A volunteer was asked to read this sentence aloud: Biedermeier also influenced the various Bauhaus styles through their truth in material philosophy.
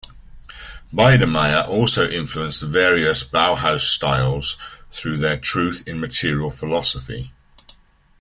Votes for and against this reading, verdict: 2, 0, accepted